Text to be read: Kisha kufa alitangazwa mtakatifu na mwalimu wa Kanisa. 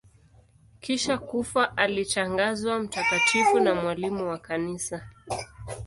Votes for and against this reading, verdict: 0, 2, rejected